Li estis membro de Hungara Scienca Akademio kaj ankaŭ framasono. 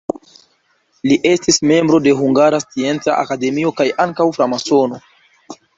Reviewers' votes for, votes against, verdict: 2, 1, accepted